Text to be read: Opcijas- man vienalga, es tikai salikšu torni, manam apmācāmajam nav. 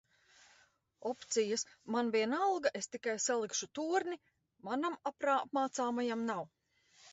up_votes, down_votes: 0, 2